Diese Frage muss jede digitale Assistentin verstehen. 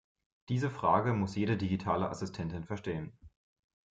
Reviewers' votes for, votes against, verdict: 2, 0, accepted